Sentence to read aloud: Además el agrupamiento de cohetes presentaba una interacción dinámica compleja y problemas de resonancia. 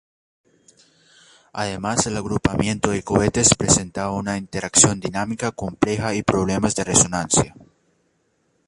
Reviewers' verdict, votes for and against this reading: rejected, 1, 2